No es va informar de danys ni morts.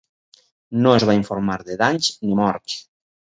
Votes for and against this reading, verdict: 4, 0, accepted